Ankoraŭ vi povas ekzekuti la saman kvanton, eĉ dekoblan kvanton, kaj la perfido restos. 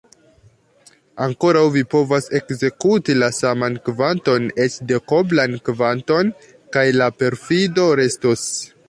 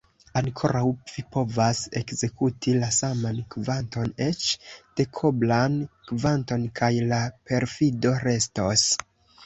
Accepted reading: first